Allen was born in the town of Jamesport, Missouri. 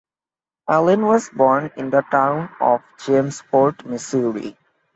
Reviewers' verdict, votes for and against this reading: accepted, 2, 1